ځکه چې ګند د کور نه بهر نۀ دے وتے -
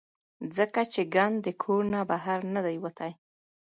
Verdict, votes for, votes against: rejected, 1, 3